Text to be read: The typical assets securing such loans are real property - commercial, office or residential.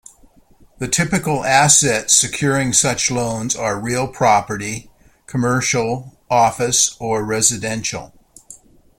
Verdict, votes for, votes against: accepted, 2, 0